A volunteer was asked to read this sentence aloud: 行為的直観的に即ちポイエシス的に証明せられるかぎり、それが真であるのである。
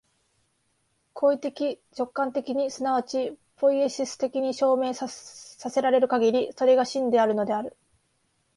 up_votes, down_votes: 6, 2